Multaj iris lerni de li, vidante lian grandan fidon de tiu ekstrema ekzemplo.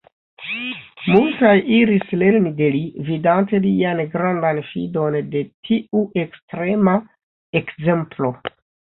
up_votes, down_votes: 3, 0